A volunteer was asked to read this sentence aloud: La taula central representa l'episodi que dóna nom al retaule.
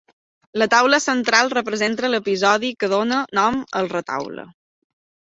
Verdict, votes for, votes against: accepted, 3, 1